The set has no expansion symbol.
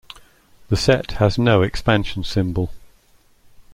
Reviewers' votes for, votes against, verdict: 2, 0, accepted